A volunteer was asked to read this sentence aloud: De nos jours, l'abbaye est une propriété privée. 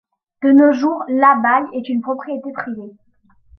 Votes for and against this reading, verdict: 0, 2, rejected